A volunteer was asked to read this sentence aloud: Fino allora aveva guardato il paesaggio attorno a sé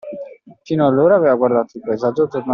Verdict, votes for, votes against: rejected, 0, 2